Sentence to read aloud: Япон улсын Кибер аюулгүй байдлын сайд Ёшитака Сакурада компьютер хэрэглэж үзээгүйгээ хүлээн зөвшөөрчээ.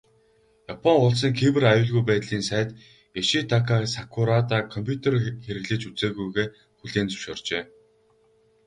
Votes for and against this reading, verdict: 2, 2, rejected